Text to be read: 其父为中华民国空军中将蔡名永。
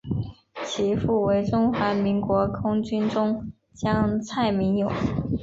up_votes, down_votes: 2, 0